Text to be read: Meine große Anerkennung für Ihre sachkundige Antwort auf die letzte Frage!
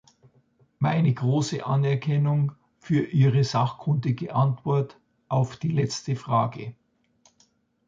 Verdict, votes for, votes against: accepted, 2, 0